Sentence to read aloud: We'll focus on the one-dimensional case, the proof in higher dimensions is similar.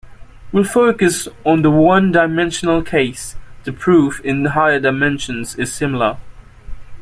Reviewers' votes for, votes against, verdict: 2, 0, accepted